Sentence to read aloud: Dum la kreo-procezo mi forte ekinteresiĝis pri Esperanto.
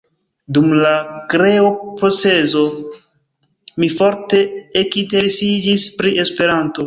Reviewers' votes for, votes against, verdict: 0, 3, rejected